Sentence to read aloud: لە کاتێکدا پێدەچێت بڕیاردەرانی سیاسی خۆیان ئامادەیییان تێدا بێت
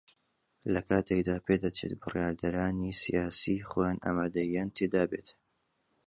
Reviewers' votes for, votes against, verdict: 2, 0, accepted